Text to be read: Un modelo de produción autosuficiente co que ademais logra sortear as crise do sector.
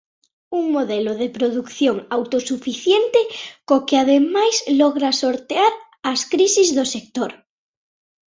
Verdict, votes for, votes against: rejected, 0, 2